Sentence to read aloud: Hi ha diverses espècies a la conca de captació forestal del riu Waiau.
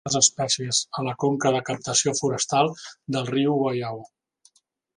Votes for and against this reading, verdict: 0, 2, rejected